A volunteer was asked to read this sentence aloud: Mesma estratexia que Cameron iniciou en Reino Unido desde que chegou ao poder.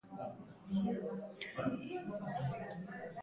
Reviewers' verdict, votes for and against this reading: rejected, 0, 2